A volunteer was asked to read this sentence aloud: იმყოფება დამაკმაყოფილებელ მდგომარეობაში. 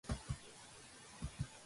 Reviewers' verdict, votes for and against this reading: rejected, 0, 2